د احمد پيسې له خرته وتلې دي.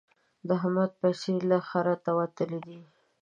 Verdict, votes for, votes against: accepted, 2, 0